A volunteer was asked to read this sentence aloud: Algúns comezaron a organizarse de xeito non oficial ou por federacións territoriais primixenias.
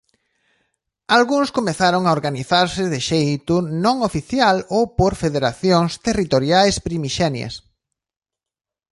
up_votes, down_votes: 2, 0